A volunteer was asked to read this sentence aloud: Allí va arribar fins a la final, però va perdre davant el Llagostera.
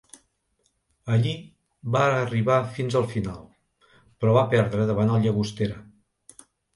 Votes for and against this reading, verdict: 2, 3, rejected